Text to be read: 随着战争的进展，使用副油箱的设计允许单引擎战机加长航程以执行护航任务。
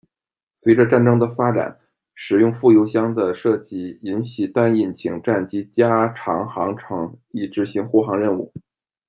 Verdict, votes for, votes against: accepted, 2, 0